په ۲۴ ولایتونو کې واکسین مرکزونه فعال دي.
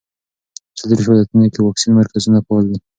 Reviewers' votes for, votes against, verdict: 0, 2, rejected